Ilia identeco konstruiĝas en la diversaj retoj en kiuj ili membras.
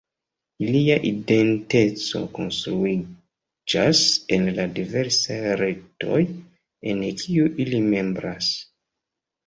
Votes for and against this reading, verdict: 1, 2, rejected